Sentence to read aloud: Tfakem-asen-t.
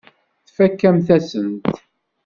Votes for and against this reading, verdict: 0, 2, rejected